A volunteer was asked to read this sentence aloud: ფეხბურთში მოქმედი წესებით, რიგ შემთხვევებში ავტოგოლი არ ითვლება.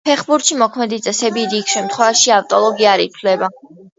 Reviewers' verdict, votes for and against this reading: rejected, 1, 2